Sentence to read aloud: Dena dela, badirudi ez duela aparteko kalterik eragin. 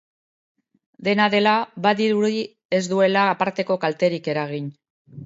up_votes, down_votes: 0, 2